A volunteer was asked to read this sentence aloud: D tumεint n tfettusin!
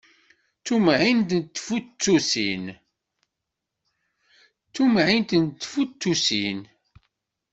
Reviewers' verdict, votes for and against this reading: rejected, 1, 2